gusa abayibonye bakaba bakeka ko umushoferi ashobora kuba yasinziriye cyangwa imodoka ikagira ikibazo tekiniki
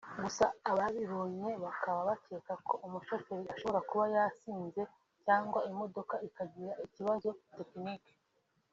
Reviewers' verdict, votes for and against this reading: rejected, 1, 2